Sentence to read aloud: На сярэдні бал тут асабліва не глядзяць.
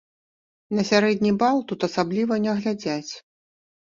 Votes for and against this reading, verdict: 1, 2, rejected